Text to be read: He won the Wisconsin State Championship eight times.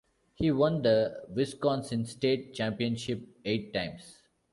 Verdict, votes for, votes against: accepted, 2, 0